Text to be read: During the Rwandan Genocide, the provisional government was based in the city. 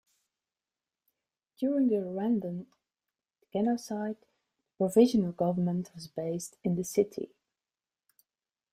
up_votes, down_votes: 0, 2